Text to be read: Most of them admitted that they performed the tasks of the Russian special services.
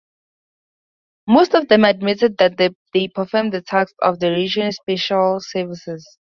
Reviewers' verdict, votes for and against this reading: rejected, 2, 2